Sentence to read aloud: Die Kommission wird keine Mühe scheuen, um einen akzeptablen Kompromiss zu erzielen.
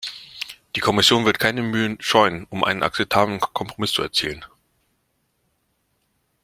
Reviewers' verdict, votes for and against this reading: rejected, 0, 2